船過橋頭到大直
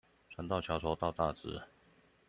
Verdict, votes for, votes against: rejected, 0, 2